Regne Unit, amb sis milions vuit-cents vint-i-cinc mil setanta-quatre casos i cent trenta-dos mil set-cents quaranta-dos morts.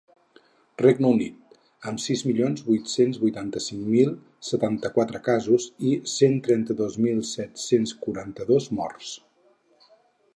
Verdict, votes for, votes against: rejected, 2, 4